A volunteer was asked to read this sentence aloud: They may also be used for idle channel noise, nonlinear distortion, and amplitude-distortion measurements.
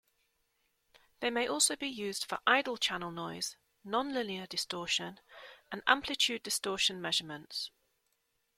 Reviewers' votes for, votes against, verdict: 2, 0, accepted